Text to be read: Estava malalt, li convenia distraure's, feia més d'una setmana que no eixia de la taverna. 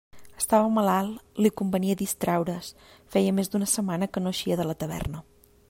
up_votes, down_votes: 2, 0